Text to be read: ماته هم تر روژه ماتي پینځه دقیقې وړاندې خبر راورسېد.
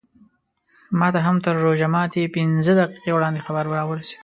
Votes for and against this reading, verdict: 2, 0, accepted